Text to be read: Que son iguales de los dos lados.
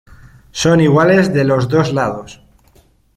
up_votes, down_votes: 0, 2